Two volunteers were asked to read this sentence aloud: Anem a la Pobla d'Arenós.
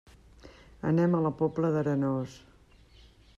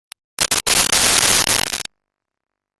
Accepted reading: first